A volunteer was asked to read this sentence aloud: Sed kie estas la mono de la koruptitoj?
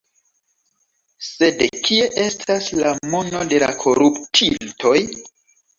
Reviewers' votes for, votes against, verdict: 2, 3, rejected